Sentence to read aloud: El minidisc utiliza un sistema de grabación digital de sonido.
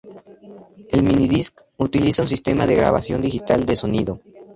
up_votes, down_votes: 2, 0